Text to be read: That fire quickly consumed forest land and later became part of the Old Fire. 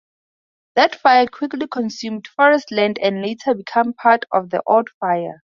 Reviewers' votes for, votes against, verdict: 0, 2, rejected